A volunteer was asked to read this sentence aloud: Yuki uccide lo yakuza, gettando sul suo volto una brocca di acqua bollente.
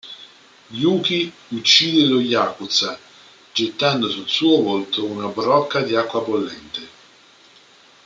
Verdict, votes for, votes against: accepted, 2, 0